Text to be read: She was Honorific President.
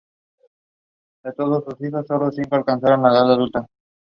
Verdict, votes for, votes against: rejected, 0, 2